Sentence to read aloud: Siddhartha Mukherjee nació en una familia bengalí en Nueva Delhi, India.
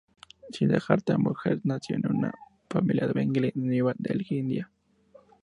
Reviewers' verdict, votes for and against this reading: rejected, 0, 2